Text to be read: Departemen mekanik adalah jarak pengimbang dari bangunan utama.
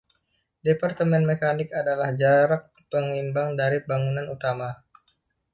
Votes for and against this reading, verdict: 2, 0, accepted